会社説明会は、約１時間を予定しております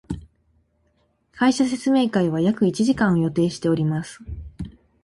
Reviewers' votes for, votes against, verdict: 0, 2, rejected